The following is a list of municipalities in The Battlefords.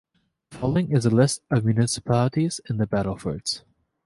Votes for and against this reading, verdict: 2, 1, accepted